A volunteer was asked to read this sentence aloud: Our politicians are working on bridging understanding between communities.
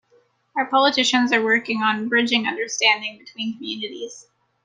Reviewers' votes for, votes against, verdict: 1, 2, rejected